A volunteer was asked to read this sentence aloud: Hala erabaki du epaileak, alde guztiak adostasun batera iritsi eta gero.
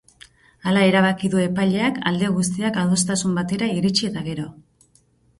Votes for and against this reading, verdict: 2, 2, rejected